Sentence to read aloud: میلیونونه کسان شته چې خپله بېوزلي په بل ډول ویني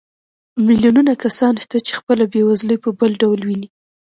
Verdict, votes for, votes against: rejected, 1, 2